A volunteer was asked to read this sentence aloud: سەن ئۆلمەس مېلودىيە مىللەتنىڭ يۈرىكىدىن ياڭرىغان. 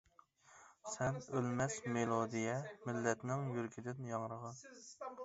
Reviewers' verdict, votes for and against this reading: accepted, 2, 0